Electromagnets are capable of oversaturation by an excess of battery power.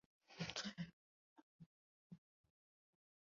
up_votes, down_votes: 0, 2